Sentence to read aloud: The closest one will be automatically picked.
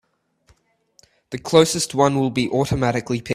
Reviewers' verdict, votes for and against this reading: rejected, 0, 2